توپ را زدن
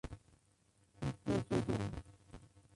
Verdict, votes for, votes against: rejected, 0, 2